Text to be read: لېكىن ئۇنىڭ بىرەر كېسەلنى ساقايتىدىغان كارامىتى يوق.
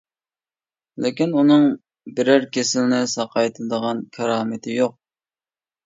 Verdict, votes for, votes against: rejected, 0, 2